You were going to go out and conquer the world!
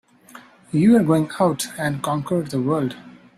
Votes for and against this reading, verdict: 0, 3, rejected